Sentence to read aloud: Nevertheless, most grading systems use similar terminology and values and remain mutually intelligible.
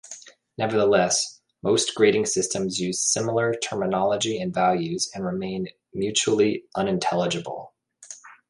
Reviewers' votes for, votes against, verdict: 0, 2, rejected